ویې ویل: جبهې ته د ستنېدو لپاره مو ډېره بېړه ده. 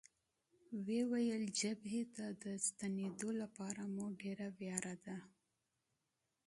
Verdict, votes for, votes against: accepted, 2, 0